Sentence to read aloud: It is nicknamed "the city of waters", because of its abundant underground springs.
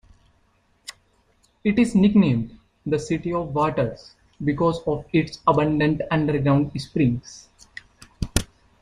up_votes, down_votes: 0, 2